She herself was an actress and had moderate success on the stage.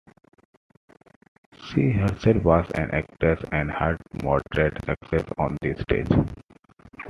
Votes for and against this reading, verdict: 1, 2, rejected